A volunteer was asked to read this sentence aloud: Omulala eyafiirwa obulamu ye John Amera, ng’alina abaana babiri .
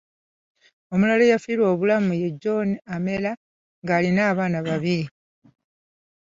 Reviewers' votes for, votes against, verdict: 2, 0, accepted